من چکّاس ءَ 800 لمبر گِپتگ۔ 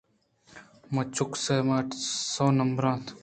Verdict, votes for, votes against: rejected, 0, 2